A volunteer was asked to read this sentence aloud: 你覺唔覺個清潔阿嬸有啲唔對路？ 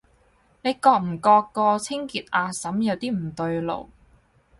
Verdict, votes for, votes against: accepted, 4, 0